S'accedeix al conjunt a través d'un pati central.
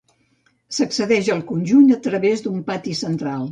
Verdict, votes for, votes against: accepted, 2, 0